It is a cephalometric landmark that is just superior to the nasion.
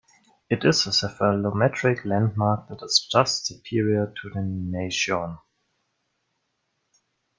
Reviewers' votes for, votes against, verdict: 1, 2, rejected